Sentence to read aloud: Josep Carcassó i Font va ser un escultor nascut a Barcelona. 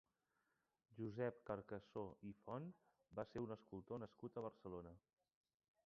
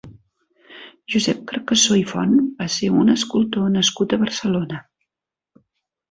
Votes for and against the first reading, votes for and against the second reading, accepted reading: 0, 2, 3, 0, second